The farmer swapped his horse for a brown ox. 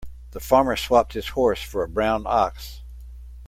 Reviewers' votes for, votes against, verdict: 2, 0, accepted